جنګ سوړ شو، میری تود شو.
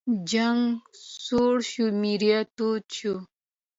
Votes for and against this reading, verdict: 1, 2, rejected